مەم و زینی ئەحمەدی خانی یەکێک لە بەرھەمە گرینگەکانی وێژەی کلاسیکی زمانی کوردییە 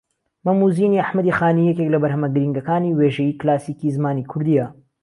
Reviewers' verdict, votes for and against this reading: accepted, 2, 0